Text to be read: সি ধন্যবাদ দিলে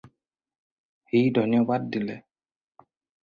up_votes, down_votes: 2, 4